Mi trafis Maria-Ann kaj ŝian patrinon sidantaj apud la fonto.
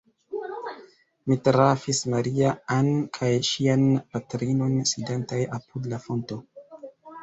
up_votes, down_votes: 2, 0